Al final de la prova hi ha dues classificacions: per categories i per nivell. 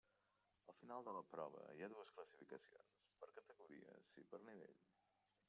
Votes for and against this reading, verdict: 1, 2, rejected